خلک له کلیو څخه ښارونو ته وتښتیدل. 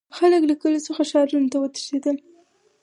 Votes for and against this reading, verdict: 0, 4, rejected